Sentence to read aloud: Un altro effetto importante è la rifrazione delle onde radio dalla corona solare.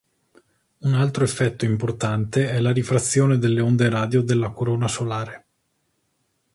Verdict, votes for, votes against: rejected, 1, 2